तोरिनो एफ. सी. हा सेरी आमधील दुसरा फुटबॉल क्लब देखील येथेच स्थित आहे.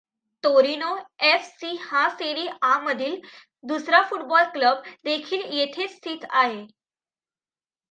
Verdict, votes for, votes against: accepted, 2, 1